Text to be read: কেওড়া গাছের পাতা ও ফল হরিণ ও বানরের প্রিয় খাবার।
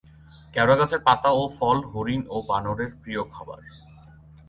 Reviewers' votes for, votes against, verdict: 20, 2, accepted